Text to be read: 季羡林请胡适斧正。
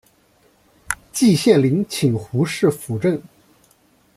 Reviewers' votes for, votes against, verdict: 2, 0, accepted